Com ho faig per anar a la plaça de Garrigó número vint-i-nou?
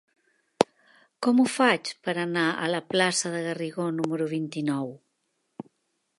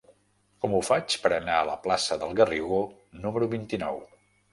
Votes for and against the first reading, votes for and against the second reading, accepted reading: 3, 0, 0, 2, first